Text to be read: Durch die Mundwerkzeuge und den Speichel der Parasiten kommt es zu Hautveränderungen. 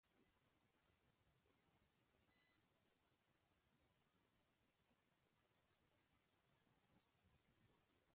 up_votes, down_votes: 0, 2